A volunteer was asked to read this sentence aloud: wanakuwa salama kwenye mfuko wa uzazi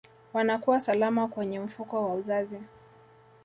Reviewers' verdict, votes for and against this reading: accepted, 2, 0